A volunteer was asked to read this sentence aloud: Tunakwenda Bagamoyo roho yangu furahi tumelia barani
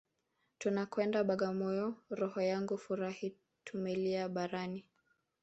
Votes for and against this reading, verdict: 0, 2, rejected